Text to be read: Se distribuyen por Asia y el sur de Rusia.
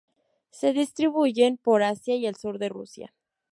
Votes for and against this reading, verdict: 2, 0, accepted